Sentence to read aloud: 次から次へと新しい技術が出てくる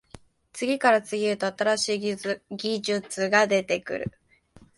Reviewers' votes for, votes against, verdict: 2, 1, accepted